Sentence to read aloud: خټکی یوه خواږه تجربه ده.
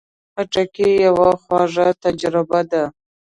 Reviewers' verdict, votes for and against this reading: accepted, 2, 0